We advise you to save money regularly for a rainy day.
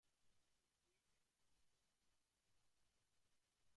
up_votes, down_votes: 0, 2